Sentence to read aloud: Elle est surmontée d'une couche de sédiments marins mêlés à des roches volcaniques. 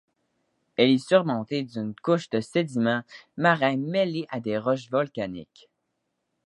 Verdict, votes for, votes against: accepted, 2, 0